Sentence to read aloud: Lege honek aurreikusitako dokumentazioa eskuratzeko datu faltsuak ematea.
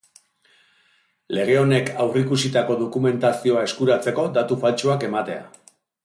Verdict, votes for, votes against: accepted, 2, 1